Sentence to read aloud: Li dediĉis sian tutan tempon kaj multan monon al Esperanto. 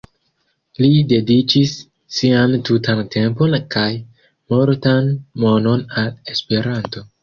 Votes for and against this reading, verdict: 1, 2, rejected